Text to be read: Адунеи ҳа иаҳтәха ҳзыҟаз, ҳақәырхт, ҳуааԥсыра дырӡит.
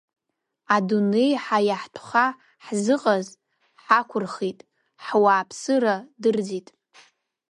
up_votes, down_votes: 1, 2